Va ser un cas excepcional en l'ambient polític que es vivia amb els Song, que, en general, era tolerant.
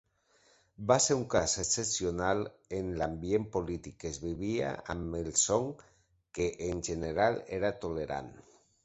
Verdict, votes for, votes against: accepted, 2, 0